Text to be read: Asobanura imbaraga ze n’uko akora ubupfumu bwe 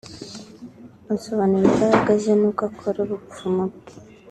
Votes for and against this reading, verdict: 2, 0, accepted